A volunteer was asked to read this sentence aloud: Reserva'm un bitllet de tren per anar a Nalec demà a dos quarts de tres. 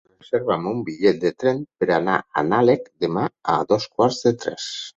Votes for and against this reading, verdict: 0, 6, rejected